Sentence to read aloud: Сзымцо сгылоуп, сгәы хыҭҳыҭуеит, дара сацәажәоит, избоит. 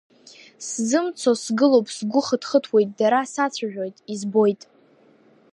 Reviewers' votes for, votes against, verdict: 3, 0, accepted